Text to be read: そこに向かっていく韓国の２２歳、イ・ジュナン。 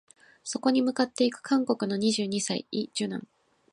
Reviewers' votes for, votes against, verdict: 0, 2, rejected